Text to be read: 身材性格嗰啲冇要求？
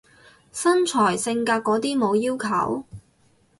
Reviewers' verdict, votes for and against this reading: accepted, 4, 0